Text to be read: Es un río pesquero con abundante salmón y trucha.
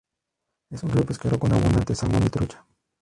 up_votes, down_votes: 0, 4